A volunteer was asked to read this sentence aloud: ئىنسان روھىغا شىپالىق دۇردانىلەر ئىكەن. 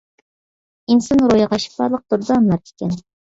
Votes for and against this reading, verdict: 1, 2, rejected